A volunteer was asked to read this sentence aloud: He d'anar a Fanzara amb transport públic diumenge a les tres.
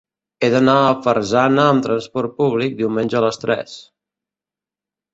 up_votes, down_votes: 0, 2